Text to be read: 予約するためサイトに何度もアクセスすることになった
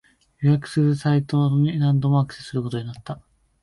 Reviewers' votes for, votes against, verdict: 1, 2, rejected